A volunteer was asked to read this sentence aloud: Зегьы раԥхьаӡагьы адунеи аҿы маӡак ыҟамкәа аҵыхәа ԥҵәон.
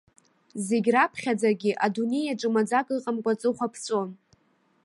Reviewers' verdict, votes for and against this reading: accepted, 2, 0